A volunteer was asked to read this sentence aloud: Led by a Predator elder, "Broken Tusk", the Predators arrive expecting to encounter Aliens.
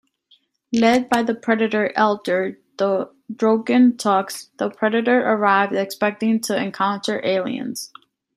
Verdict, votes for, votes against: rejected, 1, 2